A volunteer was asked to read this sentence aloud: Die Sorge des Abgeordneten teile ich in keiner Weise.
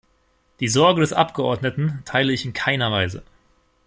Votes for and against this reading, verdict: 2, 0, accepted